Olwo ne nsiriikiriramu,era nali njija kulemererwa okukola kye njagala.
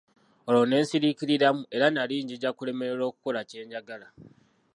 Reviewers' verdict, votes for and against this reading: rejected, 0, 2